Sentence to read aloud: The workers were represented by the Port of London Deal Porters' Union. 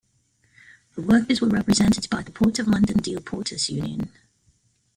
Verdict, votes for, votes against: rejected, 1, 2